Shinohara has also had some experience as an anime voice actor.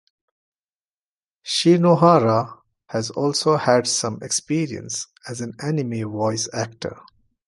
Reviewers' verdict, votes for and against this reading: accepted, 2, 0